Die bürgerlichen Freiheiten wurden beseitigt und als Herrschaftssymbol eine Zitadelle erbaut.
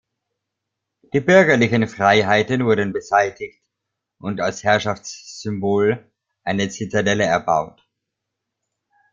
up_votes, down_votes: 2, 1